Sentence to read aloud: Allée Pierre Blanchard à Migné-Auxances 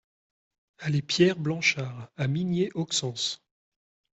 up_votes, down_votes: 2, 0